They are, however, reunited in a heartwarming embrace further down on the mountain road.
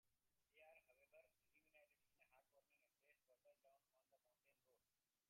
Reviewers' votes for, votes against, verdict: 0, 2, rejected